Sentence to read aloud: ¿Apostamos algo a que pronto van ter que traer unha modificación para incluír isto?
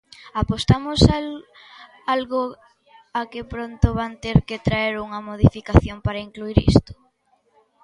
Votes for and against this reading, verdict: 0, 2, rejected